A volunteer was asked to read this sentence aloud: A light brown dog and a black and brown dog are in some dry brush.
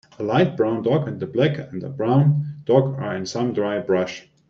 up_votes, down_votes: 1, 2